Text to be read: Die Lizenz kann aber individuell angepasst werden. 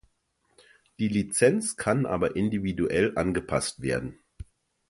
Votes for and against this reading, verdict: 2, 0, accepted